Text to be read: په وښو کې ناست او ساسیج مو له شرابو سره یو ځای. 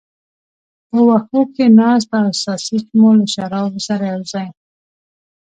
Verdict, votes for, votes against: accepted, 2, 0